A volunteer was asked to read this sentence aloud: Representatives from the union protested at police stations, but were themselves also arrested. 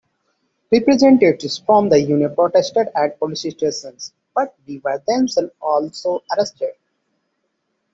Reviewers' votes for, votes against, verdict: 2, 1, accepted